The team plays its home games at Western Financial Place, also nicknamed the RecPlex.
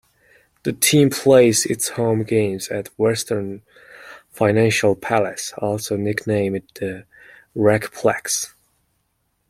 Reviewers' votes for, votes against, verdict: 0, 2, rejected